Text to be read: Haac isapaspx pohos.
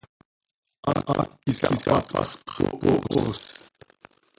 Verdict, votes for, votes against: rejected, 0, 2